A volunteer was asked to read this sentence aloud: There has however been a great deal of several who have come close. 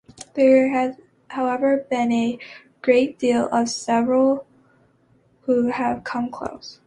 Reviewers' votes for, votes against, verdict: 2, 0, accepted